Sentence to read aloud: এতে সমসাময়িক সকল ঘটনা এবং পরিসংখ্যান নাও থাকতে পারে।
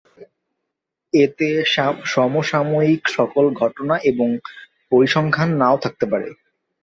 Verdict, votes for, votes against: rejected, 0, 2